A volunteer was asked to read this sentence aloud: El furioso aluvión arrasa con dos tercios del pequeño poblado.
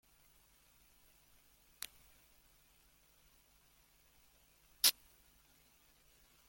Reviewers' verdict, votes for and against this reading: rejected, 0, 2